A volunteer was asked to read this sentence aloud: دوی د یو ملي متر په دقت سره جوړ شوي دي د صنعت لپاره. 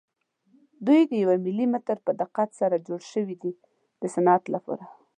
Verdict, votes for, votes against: accepted, 2, 0